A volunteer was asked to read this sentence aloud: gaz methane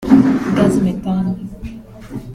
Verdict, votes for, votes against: rejected, 1, 2